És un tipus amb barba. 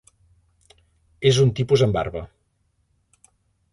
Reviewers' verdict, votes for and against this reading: accepted, 3, 0